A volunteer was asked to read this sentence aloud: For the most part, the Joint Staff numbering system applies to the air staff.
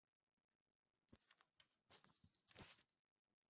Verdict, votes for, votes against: rejected, 0, 2